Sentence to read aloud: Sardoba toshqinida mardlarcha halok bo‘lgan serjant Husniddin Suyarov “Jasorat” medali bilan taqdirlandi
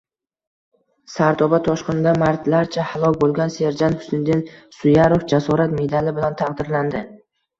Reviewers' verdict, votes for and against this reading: rejected, 1, 2